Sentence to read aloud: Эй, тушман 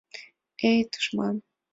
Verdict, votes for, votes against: accepted, 2, 0